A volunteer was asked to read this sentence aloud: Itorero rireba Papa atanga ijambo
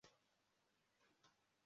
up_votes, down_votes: 0, 2